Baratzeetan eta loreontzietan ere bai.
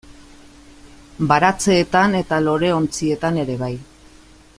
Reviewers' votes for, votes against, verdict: 2, 0, accepted